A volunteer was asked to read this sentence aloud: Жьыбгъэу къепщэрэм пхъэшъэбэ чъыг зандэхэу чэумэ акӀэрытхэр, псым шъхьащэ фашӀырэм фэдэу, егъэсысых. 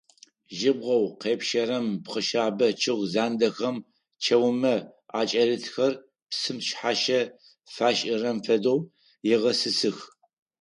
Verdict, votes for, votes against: rejected, 2, 4